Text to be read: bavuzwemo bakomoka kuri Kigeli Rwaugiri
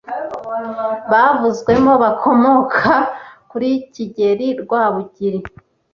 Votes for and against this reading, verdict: 1, 2, rejected